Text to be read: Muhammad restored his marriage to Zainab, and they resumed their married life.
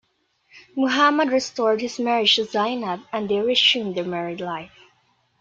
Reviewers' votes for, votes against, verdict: 3, 0, accepted